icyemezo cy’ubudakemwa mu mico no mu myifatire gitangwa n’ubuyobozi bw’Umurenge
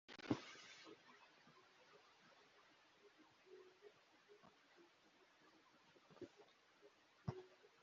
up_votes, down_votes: 0, 2